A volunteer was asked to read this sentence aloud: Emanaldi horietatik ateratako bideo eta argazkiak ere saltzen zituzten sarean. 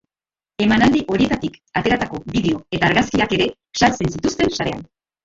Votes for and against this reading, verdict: 0, 2, rejected